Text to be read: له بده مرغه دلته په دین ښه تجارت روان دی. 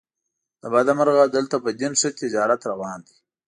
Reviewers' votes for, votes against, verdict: 2, 0, accepted